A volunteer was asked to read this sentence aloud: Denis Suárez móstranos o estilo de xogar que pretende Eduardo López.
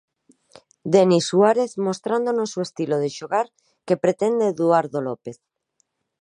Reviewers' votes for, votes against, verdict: 0, 2, rejected